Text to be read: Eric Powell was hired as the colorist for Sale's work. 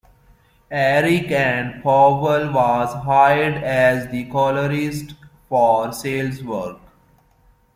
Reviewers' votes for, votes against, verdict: 1, 2, rejected